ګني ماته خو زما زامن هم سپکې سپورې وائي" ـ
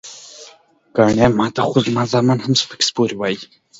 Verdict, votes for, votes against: accepted, 2, 0